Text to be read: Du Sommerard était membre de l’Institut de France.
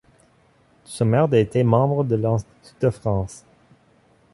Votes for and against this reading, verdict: 1, 2, rejected